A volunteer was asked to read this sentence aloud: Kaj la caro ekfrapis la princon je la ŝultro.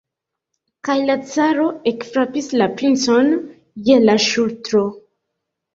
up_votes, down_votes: 2, 1